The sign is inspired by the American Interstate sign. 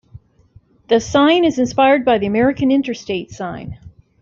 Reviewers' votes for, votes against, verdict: 2, 0, accepted